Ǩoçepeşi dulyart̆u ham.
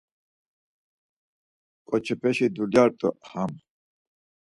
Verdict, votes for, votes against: accepted, 4, 0